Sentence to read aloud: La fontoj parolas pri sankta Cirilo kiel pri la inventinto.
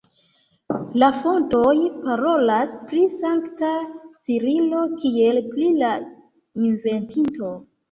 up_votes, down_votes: 2, 1